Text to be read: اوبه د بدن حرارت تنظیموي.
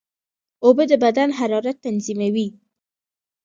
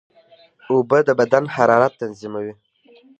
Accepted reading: first